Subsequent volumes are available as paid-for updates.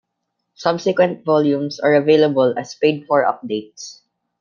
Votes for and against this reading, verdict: 2, 0, accepted